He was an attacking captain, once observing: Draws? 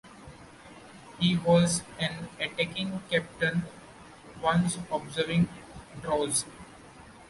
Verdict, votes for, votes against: accepted, 2, 1